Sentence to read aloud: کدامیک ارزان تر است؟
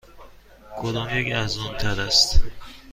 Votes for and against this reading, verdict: 2, 0, accepted